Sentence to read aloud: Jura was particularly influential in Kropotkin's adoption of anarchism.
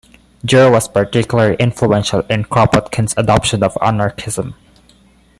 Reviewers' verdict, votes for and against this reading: accepted, 2, 0